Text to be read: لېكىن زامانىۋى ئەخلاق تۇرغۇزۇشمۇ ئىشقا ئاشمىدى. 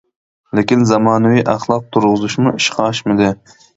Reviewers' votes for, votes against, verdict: 2, 0, accepted